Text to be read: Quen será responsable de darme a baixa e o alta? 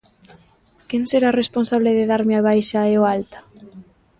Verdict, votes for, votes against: accepted, 2, 0